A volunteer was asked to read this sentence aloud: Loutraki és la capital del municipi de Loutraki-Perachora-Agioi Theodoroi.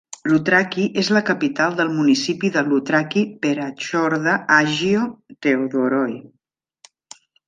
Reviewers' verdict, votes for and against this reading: rejected, 0, 2